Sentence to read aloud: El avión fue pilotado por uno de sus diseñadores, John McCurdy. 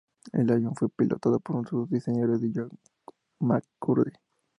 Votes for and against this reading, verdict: 0, 2, rejected